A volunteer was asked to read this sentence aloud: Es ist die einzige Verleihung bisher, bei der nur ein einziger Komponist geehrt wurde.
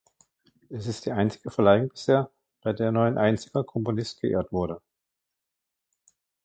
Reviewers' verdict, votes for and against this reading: rejected, 1, 2